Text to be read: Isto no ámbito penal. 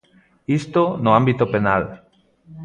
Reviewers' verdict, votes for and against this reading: accepted, 2, 0